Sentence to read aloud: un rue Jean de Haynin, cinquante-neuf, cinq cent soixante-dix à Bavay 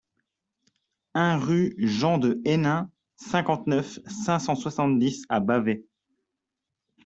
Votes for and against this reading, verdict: 2, 0, accepted